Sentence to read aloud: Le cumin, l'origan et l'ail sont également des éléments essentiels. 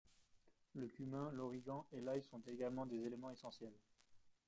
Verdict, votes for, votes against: rejected, 1, 2